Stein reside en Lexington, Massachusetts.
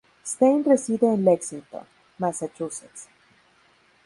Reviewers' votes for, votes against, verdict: 0, 2, rejected